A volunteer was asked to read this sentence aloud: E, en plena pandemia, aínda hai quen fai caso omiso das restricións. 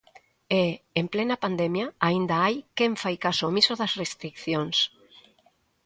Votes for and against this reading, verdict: 1, 2, rejected